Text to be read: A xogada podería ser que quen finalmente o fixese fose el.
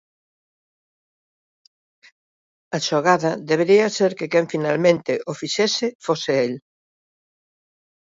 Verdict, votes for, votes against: rejected, 0, 2